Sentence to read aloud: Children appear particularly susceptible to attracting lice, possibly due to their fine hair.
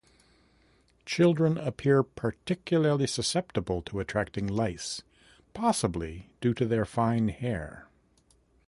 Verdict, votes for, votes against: accepted, 2, 0